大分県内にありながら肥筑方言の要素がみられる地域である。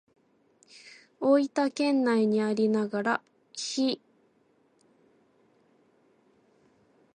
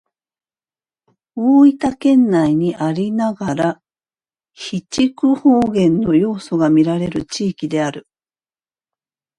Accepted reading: second